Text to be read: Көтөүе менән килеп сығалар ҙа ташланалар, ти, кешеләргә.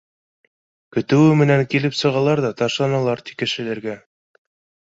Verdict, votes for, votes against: accepted, 2, 0